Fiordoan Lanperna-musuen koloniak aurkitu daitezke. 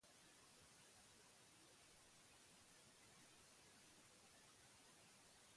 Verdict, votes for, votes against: rejected, 0, 6